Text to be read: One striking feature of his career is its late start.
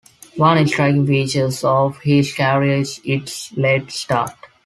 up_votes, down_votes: 1, 2